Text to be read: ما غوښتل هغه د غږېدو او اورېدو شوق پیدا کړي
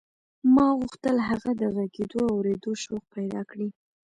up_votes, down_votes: 2, 0